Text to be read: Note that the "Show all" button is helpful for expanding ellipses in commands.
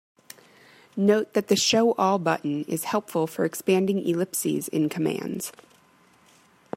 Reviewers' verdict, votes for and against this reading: accepted, 3, 0